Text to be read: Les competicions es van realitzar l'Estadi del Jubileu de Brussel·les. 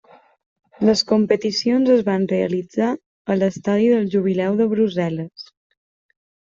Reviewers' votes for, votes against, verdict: 1, 2, rejected